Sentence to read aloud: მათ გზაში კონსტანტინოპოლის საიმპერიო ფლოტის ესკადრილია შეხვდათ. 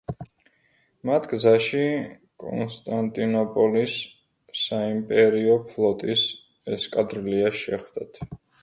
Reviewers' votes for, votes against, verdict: 1, 2, rejected